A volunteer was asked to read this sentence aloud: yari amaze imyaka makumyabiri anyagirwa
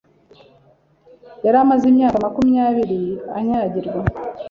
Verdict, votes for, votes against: accepted, 2, 0